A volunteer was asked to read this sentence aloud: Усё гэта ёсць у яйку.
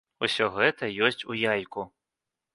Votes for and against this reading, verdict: 2, 0, accepted